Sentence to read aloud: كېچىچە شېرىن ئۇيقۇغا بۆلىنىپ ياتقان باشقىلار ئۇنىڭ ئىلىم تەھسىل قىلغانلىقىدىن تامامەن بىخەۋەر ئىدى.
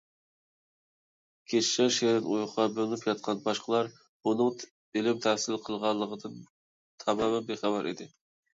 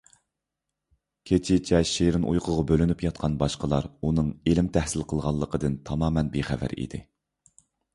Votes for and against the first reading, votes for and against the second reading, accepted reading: 0, 2, 2, 0, second